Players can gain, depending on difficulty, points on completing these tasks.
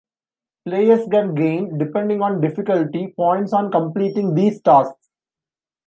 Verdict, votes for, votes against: accepted, 2, 0